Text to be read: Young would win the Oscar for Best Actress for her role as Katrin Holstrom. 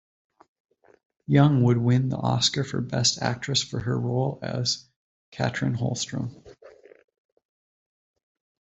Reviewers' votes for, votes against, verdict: 2, 0, accepted